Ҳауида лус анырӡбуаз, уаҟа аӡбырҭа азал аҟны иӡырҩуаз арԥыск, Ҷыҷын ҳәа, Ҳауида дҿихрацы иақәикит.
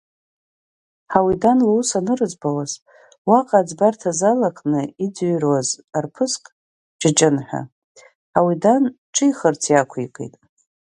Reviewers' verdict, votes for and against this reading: rejected, 1, 2